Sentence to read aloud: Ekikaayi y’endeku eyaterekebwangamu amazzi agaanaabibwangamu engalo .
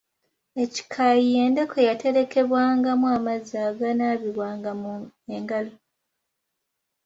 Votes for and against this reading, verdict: 2, 1, accepted